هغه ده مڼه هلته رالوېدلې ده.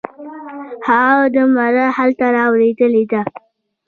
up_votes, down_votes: 1, 2